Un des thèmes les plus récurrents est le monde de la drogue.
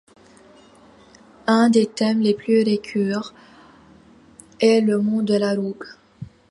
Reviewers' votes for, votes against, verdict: 0, 2, rejected